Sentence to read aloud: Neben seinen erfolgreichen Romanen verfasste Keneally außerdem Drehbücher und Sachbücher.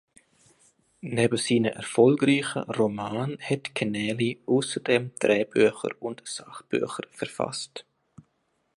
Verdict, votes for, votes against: rejected, 0, 2